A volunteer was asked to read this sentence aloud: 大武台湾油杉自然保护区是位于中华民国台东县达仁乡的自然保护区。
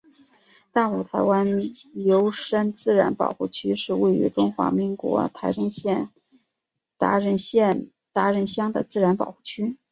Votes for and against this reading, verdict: 4, 5, rejected